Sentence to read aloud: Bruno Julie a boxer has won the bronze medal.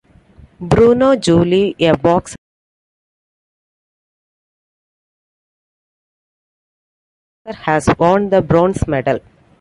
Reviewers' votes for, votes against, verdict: 0, 2, rejected